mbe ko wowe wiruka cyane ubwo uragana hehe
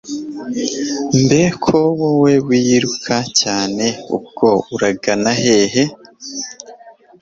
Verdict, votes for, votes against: rejected, 0, 2